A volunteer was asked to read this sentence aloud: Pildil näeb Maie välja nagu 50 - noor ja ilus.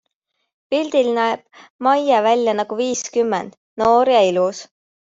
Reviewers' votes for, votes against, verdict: 0, 2, rejected